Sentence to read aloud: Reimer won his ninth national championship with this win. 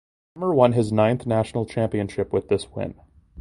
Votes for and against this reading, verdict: 0, 2, rejected